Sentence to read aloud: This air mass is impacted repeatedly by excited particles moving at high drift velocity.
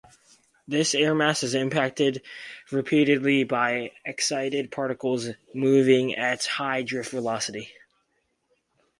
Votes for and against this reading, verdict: 4, 0, accepted